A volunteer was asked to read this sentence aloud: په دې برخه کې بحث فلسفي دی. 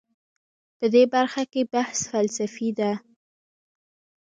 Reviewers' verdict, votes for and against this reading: rejected, 1, 2